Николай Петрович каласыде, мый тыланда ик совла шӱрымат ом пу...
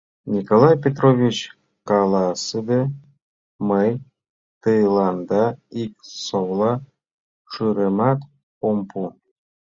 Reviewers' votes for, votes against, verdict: 1, 2, rejected